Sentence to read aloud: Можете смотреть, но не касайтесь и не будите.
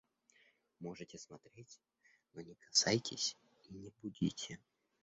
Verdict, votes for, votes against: rejected, 1, 2